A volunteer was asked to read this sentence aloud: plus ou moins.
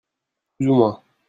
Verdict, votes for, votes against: rejected, 1, 2